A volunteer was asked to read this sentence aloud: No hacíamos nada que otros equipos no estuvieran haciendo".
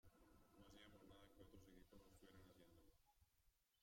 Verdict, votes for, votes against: rejected, 0, 2